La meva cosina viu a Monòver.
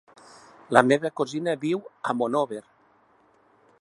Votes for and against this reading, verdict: 3, 0, accepted